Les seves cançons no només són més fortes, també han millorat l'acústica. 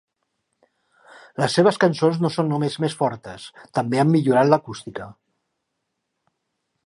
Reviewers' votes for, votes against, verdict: 0, 2, rejected